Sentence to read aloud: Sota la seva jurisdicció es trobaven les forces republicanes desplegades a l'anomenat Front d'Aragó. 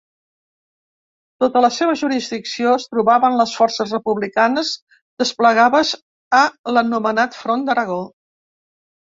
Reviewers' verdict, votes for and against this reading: accepted, 2, 0